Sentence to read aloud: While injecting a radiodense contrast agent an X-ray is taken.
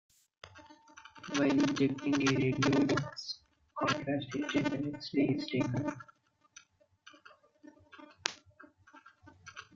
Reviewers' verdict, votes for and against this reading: rejected, 0, 2